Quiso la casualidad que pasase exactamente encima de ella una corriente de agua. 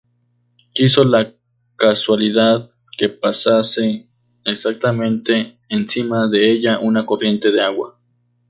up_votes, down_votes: 2, 0